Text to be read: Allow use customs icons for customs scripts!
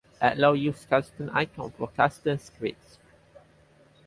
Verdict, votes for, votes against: accepted, 4, 0